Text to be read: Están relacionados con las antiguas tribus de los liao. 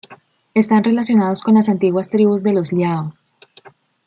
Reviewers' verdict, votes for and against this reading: accepted, 2, 0